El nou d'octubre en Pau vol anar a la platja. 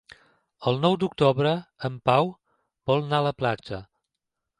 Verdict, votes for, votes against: rejected, 0, 2